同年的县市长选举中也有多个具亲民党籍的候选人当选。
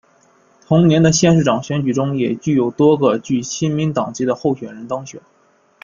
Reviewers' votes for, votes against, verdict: 1, 3, rejected